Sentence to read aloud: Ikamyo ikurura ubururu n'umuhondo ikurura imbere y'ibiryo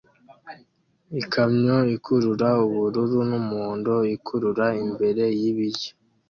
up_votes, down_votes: 2, 0